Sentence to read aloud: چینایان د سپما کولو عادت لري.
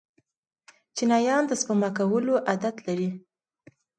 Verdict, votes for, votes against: accepted, 2, 0